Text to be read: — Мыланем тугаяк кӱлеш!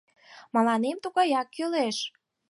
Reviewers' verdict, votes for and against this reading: accepted, 4, 0